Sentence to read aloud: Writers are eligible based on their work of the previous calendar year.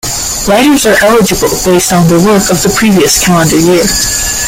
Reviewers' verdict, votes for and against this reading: rejected, 0, 2